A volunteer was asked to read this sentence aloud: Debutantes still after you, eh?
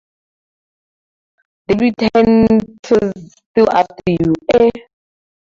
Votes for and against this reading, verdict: 0, 2, rejected